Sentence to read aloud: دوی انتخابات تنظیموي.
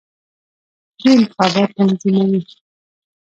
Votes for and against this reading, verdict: 0, 2, rejected